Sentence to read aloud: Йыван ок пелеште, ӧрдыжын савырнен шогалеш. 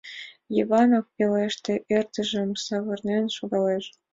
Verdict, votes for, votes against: accepted, 2, 0